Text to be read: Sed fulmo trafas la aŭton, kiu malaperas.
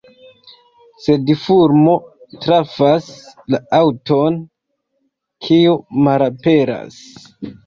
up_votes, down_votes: 2, 1